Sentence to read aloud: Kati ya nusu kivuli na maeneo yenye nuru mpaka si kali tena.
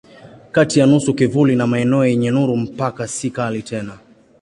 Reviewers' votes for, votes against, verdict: 2, 0, accepted